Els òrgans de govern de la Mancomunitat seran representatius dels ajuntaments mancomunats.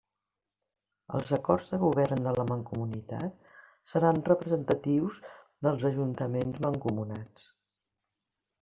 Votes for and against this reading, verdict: 0, 2, rejected